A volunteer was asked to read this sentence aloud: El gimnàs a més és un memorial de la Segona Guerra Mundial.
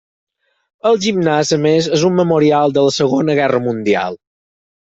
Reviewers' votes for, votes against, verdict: 6, 0, accepted